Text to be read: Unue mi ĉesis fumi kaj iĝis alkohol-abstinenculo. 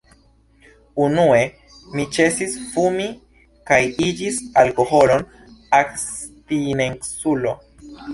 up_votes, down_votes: 0, 2